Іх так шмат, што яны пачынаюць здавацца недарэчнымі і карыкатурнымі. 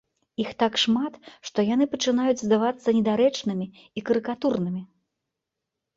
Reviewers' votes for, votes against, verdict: 2, 0, accepted